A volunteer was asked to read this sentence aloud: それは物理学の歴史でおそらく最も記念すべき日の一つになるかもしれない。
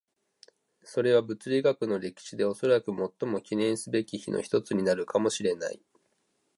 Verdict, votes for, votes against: accepted, 2, 0